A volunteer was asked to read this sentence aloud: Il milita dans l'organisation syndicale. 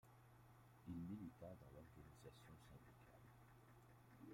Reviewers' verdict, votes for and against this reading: rejected, 1, 2